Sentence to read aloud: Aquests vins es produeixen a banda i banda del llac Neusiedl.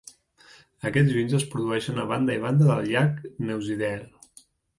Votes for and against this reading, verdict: 1, 2, rejected